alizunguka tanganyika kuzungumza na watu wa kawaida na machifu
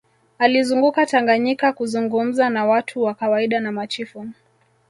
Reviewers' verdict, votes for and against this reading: accepted, 2, 1